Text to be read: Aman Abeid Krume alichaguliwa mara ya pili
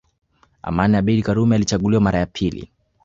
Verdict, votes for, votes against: rejected, 1, 2